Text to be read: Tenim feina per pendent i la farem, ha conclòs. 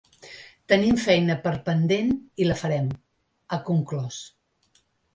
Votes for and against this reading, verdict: 3, 0, accepted